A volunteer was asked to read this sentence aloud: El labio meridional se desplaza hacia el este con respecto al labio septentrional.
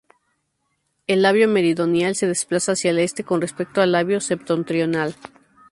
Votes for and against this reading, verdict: 2, 2, rejected